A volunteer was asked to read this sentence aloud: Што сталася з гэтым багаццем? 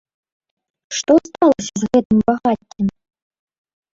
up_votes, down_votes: 0, 2